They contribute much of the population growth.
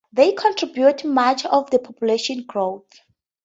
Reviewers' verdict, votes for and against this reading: accepted, 2, 0